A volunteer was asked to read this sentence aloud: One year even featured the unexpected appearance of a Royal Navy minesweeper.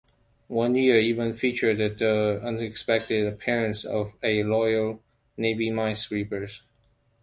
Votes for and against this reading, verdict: 0, 2, rejected